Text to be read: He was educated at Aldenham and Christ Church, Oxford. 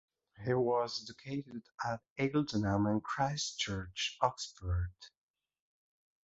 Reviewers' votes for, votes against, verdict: 0, 2, rejected